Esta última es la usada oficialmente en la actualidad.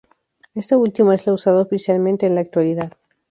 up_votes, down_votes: 0, 2